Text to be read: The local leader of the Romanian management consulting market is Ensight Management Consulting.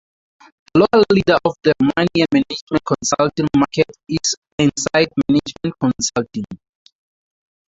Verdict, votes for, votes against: rejected, 0, 2